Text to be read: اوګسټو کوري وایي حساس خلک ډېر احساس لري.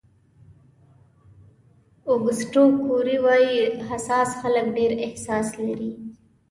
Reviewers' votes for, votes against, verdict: 2, 0, accepted